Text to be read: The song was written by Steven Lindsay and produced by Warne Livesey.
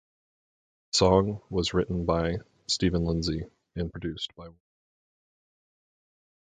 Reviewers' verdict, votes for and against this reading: rejected, 0, 2